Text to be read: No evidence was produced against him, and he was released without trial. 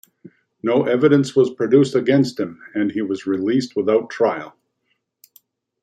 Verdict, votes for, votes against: accepted, 2, 0